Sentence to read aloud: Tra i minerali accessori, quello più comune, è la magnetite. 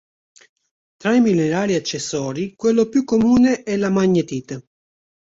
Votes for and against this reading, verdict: 2, 0, accepted